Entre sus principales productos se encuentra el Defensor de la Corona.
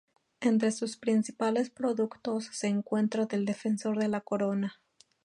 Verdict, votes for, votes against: rejected, 0, 2